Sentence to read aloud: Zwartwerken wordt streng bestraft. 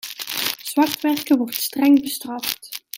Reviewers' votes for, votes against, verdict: 0, 2, rejected